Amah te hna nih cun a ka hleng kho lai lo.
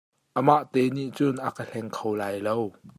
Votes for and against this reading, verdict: 2, 0, accepted